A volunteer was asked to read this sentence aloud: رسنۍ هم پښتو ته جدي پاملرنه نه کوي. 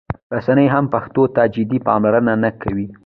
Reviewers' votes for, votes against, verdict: 2, 1, accepted